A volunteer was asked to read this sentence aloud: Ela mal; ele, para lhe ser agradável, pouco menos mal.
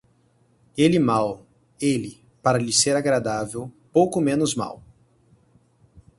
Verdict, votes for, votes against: rejected, 2, 4